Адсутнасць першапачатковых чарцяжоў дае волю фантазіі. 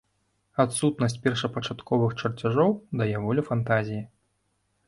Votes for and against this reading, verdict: 3, 0, accepted